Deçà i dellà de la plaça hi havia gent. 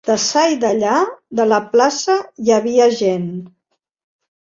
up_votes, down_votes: 2, 1